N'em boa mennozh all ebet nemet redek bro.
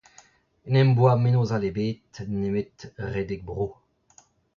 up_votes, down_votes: 0, 2